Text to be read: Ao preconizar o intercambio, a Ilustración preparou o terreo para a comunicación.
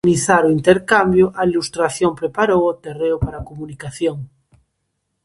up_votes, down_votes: 0, 2